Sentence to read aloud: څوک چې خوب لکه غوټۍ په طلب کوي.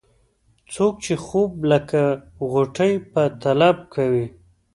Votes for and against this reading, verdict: 2, 0, accepted